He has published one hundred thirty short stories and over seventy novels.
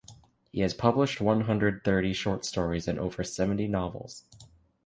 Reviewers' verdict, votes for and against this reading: accepted, 2, 0